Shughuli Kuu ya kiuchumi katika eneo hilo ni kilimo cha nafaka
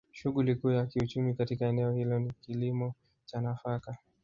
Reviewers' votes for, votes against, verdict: 1, 2, rejected